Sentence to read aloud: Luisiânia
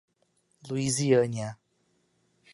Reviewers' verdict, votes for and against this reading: accepted, 2, 0